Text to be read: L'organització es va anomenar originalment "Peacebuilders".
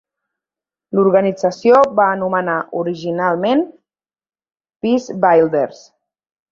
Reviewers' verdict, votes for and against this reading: rejected, 1, 2